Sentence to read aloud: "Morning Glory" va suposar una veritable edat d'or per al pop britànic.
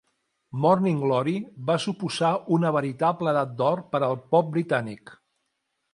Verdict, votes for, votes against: rejected, 0, 2